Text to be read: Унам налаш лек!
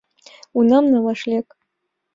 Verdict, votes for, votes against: accepted, 3, 0